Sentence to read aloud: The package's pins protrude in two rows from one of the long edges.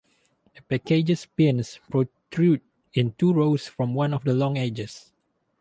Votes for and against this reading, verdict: 2, 2, rejected